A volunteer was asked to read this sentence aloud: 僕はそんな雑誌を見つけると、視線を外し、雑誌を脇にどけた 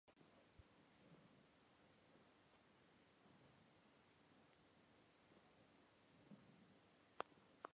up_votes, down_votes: 1, 4